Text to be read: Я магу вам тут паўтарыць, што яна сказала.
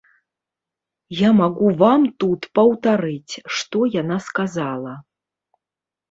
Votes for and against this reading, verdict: 1, 2, rejected